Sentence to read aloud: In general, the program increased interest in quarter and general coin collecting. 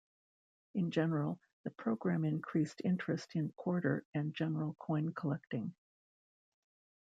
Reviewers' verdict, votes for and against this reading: rejected, 0, 2